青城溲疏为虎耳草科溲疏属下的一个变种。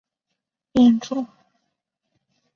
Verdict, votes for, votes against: rejected, 0, 2